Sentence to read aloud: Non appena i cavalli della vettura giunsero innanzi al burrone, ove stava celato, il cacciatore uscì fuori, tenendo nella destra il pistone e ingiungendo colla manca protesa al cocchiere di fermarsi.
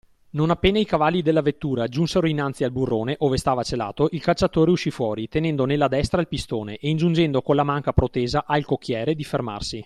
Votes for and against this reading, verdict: 2, 0, accepted